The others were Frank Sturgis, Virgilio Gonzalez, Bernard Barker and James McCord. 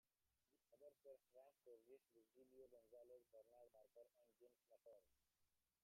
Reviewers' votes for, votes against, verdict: 0, 2, rejected